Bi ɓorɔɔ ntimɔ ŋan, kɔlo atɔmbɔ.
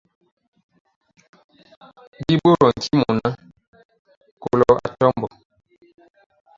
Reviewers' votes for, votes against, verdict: 0, 2, rejected